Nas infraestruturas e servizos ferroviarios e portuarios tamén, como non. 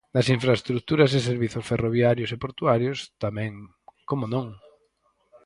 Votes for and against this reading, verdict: 0, 4, rejected